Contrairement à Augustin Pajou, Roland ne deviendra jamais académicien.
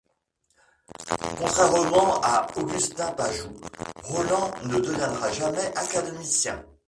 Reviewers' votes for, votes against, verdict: 1, 2, rejected